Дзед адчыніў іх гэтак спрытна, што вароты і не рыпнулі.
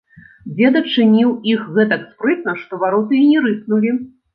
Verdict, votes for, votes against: accepted, 2, 0